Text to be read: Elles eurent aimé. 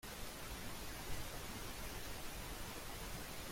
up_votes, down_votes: 0, 2